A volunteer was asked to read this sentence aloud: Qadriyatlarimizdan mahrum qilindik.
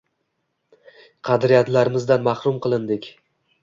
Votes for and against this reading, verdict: 2, 0, accepted